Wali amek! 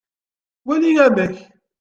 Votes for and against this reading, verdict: 2, 0, accepted